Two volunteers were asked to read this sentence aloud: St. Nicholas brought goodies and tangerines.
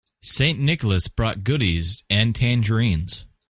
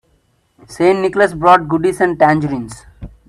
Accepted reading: first